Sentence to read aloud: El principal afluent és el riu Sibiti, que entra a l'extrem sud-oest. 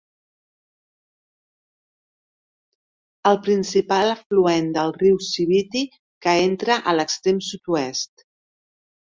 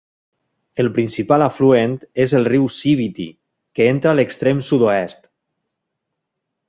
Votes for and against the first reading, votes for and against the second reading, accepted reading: 0, 2, 2, 0, second